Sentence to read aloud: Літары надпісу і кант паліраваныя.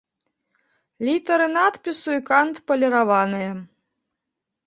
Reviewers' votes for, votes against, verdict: 3, 0, accepted